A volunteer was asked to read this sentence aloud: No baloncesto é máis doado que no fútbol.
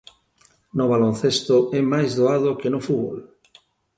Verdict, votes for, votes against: accepted, 2, 0